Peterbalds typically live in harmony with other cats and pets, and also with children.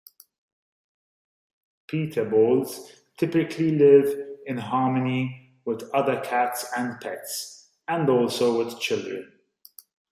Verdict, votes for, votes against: accepted, 2, 0